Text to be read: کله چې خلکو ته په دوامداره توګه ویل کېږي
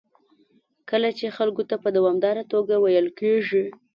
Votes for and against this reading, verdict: 2, 0, accepted